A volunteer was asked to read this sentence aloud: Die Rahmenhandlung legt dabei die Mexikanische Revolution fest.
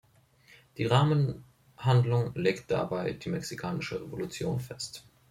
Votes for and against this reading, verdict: 2, 0, accepted